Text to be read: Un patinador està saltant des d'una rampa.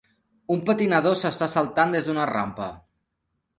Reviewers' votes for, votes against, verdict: 0, 3, rejected